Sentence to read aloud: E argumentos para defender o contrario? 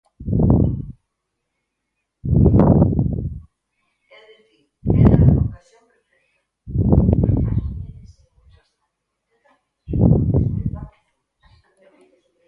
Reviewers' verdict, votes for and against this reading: rejected, 0, 4